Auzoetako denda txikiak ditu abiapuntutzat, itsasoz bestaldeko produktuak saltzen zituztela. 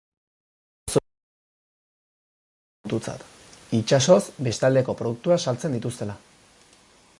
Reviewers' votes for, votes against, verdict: 0, 2, rejected